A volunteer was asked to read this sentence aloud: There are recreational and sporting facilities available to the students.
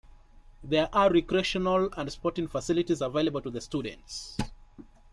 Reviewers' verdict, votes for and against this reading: accepted, 2, 0